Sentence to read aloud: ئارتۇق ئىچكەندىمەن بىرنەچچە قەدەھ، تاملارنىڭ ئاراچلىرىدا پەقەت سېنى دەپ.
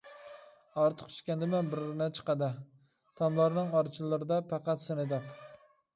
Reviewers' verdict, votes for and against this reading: rejected, 1, 2